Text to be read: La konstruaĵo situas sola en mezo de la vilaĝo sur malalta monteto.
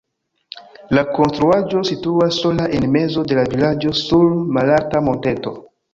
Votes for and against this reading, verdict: 0, 2, rejected